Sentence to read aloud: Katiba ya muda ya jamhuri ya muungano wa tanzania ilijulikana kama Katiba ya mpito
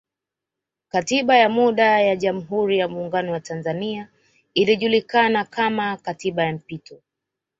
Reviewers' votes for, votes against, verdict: 2, 0, accepted